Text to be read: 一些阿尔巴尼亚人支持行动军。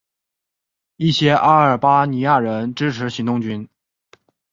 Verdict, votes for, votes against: accepted, 2, 0